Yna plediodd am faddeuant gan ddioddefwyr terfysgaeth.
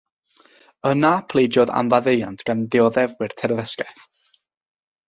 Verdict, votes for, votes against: rejected, 0, 3